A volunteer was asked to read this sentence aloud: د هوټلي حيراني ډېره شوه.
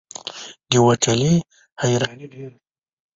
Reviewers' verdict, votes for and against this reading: rejected, 1, 2